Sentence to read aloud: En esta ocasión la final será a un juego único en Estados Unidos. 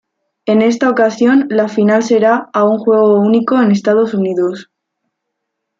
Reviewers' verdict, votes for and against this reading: accepted, 2, 0